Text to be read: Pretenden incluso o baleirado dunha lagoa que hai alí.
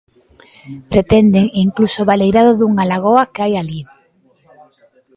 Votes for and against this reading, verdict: 1, 2, rejected